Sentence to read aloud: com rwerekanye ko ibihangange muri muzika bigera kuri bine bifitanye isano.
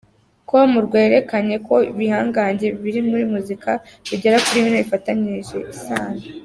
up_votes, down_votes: 0, 2